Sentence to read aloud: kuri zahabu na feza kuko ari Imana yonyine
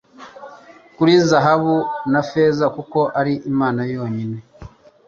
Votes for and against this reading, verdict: 3, 0, accepted